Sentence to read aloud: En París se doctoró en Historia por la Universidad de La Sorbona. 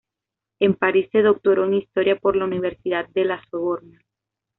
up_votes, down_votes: 0, 2